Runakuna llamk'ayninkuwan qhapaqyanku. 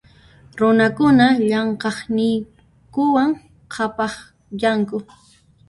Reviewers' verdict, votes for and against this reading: rejected, 0, 2